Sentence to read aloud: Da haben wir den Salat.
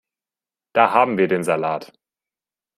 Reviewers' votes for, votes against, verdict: 3, 0, accepted